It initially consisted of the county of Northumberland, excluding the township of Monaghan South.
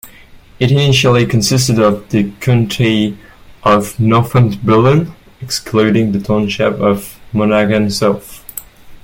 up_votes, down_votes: 2, 0